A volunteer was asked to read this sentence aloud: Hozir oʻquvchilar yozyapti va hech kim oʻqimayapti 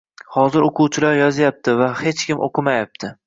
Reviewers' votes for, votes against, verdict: 1, 2, rejected